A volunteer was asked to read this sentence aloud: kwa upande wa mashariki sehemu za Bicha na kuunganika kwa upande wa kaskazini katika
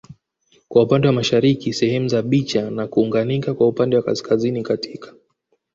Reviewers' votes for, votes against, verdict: 2, 1, accepted